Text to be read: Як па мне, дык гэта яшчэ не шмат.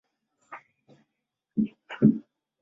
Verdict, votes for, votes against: rejected, 0, 2